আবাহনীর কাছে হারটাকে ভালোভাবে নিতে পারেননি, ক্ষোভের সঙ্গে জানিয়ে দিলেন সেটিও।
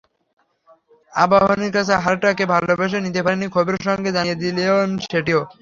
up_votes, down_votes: 0, 3